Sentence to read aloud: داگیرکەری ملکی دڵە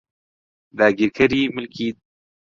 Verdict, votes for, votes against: rejected, 0, 2